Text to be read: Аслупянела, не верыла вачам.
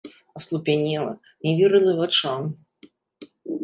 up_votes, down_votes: 2, 0